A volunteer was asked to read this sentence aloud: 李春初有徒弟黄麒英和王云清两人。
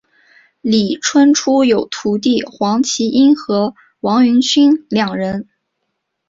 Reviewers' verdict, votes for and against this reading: accepted, 3, 0